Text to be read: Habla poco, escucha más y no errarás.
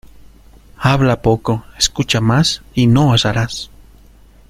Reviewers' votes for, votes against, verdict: 0, 2, rejected